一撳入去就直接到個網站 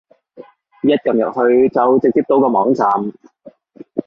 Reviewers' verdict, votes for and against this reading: accepted, 2, 0